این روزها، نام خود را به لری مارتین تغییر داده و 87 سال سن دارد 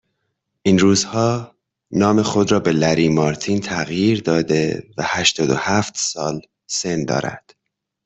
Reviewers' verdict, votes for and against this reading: rejected, 0, 2